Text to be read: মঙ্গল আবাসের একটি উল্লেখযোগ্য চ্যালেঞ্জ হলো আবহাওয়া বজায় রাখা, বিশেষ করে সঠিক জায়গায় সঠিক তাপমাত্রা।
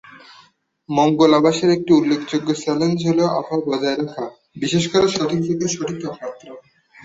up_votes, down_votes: 3, 0